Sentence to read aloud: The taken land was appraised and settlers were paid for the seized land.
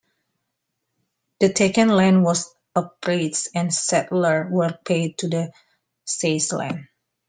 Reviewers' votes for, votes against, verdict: 0, 2, rejected